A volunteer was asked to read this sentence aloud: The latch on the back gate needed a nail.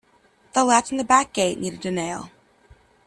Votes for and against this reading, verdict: 2, 0, accepted